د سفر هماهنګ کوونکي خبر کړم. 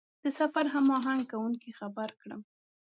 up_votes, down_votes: 2, 0